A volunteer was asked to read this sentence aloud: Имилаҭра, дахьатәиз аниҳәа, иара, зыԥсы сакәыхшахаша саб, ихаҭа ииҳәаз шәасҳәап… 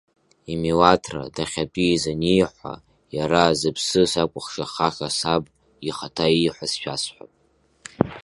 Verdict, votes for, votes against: accepted, 2, 0